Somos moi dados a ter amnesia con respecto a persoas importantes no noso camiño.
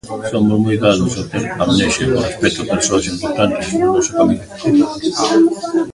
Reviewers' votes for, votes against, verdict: 1, 2, rejected